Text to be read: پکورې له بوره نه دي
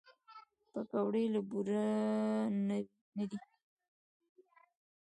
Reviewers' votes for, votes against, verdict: 2, 0, accepted